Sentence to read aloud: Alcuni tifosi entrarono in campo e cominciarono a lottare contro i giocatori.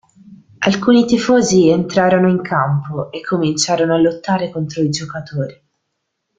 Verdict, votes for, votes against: accepted, 2, 0